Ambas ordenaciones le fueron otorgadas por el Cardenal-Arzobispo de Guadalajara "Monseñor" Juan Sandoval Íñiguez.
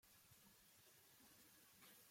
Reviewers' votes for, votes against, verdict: 0, 2, rejected